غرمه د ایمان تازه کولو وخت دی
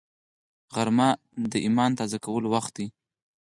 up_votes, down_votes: 2, 4